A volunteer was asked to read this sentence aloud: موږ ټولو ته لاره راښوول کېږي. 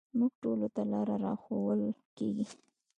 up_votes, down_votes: 2, 0